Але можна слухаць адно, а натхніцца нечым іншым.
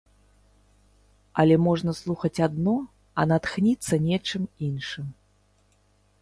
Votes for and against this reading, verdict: 3, 0, accepted